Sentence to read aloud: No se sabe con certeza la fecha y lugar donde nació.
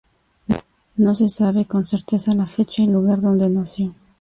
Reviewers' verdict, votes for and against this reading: accepted, 2, 0